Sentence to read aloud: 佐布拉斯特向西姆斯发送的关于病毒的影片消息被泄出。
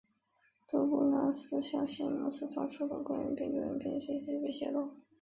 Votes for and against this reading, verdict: 2, 0, accepted